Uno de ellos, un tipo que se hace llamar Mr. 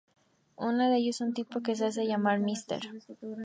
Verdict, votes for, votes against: rejected, 0, 2